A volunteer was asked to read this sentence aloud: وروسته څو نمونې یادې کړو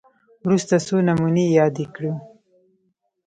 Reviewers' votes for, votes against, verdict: 1, 2, rejected